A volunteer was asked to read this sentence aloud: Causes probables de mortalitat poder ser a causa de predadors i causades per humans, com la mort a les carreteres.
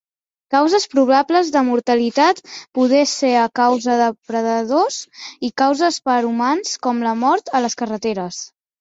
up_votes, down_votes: 0, 2